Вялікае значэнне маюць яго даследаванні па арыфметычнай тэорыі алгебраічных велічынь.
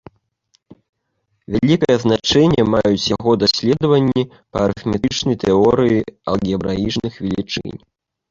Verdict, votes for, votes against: rejected, 1, 2